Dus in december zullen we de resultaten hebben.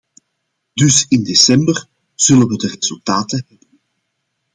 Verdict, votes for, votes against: rejected, 0, 2